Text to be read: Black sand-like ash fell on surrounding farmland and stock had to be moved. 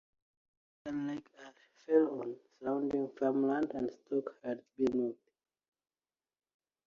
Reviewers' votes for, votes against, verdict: 1, 2, rejected